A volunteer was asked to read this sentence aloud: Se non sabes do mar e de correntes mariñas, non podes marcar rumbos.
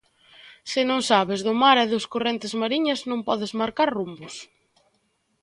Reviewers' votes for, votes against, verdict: 0, 2, rejected